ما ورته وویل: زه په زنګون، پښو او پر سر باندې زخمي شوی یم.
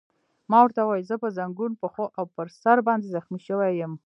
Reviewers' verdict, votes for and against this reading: rejected, 1, 2